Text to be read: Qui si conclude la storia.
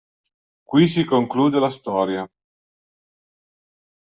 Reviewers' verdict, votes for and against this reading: accepted, 5, 0